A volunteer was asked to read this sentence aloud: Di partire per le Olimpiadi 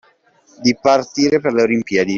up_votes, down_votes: 2, 1